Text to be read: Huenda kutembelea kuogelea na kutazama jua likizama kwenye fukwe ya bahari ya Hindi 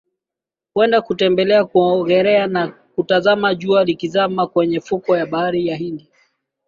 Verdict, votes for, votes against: accepted, 2, 1